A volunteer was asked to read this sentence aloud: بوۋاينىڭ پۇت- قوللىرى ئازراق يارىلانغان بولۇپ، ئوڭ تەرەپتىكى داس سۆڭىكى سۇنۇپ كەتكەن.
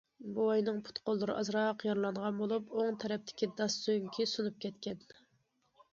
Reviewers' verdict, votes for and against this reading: accepted, 2, 0